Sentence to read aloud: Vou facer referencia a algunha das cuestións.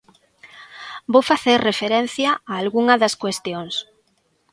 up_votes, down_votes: 2, 0